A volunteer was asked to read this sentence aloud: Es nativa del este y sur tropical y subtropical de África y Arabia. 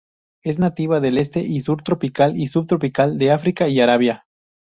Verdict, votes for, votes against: rejected, 0, 2